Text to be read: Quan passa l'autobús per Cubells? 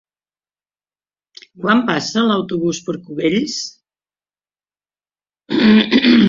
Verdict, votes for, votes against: rejected, 1, 2